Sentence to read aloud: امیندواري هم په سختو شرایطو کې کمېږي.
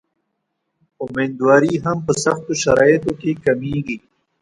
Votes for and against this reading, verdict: 2, 1, accepted